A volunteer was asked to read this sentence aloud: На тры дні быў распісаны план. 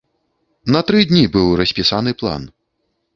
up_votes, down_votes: 2, 0